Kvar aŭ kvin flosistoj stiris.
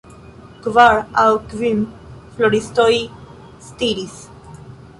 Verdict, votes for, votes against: rejected, 1, 2